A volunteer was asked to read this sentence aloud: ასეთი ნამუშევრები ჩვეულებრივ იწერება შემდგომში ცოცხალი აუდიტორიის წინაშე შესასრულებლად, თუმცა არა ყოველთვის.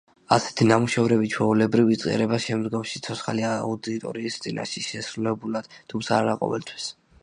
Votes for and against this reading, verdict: 1, 2, rejected